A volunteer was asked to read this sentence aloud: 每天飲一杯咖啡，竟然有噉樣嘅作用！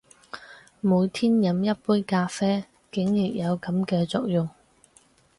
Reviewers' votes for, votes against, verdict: 0, 4, rejected